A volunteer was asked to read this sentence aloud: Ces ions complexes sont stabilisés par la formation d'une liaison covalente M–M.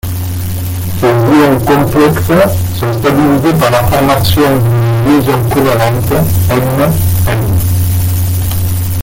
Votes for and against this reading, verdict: 0, 2, rejected